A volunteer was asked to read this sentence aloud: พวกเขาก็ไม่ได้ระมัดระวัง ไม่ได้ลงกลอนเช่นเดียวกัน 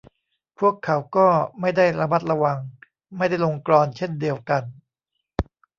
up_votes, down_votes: 2, 0